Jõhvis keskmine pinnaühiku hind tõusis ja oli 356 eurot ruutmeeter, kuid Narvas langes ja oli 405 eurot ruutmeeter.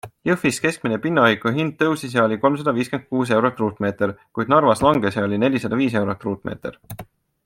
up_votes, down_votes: 0, 2